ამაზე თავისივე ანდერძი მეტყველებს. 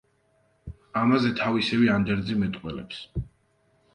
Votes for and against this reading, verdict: 2, 0, accepted